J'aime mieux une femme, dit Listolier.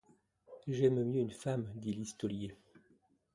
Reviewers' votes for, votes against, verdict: 2, 0, accepted